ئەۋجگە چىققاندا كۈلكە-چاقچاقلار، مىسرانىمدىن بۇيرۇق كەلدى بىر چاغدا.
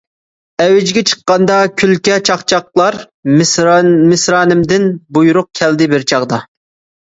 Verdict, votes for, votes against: rejected, 0, 2